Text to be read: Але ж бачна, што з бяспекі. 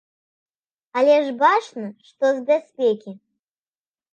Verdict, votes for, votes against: accepted, 2, 0